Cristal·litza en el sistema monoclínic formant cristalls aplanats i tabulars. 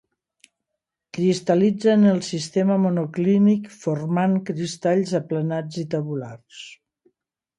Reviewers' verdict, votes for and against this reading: accepted, 2, 0